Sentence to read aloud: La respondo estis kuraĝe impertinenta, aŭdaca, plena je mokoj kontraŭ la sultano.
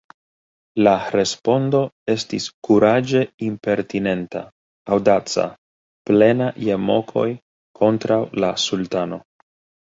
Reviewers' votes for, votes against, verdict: 2, 1, accepted